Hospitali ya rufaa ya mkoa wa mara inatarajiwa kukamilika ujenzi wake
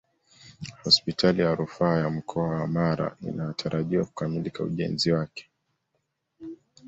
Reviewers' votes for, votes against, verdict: 2, 0, accepted